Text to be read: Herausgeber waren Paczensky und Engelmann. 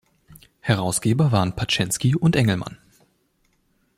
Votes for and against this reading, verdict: 2, 0, accepted